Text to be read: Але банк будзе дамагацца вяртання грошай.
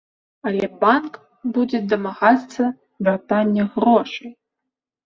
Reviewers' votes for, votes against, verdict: 2, 0, accepted